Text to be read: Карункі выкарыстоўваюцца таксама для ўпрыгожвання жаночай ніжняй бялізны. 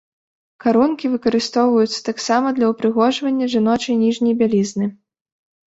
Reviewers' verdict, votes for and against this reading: accepted, 3, 1